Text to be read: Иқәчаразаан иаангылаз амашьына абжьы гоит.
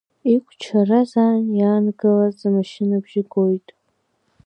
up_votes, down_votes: 2, 0